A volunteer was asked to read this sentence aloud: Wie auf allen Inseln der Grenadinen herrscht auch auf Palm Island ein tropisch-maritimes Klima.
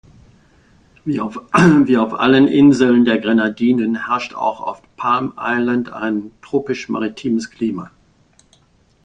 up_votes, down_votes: 0, 2